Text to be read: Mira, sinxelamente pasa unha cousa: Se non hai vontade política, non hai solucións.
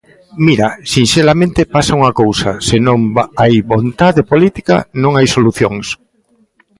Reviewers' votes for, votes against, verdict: 2, 0, accepted